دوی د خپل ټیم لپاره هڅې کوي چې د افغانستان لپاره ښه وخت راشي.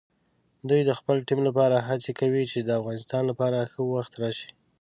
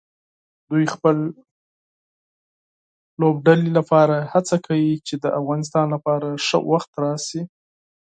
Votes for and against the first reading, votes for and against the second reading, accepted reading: 2, 0, 2, 6, first